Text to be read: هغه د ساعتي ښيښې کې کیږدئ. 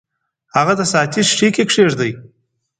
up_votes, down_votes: 2, 0